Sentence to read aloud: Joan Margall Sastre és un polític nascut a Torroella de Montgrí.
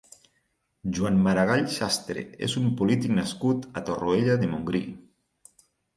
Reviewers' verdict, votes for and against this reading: rejected, 2, 6